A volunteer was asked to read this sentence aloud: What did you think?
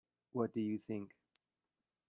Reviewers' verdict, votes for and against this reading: rejected, 0, 2